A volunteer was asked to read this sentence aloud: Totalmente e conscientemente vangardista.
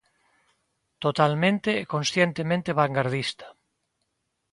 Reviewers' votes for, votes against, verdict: 2, 0, accepted